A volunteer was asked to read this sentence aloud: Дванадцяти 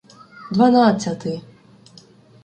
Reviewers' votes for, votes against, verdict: 2, 0, accepted